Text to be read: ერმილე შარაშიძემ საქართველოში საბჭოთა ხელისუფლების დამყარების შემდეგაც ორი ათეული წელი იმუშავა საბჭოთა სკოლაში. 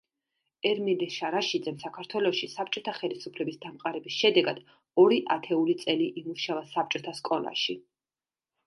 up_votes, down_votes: 1, 2